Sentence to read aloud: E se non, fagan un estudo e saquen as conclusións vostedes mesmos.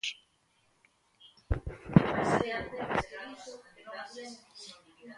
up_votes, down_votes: 0, 2